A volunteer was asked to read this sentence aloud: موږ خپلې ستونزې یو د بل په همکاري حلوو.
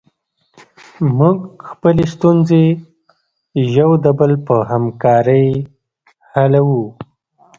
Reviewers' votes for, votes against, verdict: 2, 1, accepted